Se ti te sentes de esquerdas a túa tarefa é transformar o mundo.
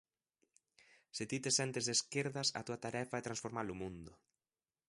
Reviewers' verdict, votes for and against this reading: accepted, 2, 0